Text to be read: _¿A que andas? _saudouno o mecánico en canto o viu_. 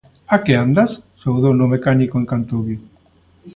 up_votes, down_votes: 2, 0